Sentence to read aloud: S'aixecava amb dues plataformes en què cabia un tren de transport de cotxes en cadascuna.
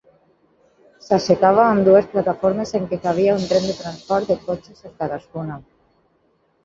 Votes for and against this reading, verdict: 6, 2, accepted